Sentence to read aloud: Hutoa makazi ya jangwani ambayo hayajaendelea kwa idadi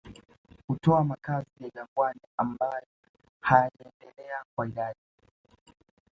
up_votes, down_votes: 0, 2